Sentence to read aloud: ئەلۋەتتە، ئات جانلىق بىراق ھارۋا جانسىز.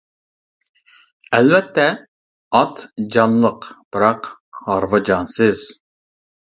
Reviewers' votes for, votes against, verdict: 2, 0, accepted